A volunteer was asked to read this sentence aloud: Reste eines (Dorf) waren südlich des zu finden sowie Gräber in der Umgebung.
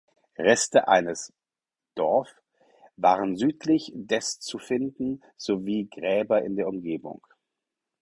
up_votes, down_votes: 4, 0